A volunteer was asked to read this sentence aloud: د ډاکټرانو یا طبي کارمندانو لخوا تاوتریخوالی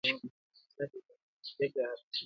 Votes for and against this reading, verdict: 0, 2, rejected